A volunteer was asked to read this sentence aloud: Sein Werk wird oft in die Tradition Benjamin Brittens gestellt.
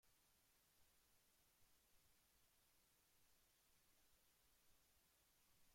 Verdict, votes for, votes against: rejected, 0, 2